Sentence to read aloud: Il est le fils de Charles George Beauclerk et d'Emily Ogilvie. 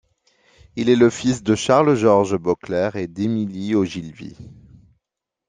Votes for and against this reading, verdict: 2, 0, accepted